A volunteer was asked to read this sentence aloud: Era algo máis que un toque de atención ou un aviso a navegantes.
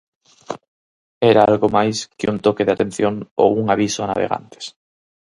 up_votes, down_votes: 4, 0